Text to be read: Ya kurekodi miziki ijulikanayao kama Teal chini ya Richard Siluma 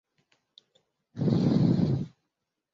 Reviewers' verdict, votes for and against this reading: rejected, 0, 2